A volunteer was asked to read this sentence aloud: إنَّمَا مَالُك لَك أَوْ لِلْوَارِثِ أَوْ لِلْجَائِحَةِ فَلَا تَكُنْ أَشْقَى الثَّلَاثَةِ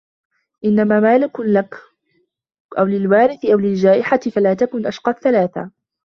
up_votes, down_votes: 2, 0